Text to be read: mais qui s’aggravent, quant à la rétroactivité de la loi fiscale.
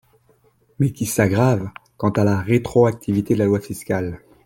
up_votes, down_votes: 2, 0